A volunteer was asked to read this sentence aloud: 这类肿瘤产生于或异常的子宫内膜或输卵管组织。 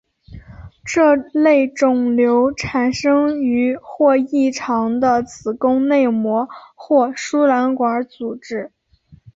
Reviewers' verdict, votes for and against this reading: accepted, 5, 0